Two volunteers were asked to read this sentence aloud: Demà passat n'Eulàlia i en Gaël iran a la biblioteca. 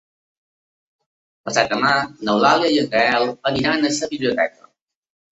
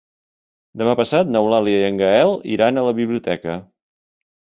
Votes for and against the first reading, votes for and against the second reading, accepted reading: 0, 2, 3, 0, second